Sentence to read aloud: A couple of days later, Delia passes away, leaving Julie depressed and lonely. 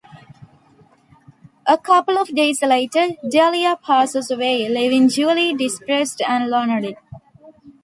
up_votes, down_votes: 2, 0